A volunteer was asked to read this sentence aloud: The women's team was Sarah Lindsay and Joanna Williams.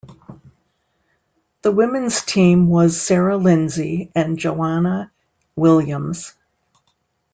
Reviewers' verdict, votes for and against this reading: accepted, 3, 0